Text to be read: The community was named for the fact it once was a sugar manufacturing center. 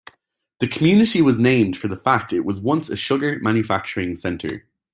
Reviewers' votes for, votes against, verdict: 1, 2, rejected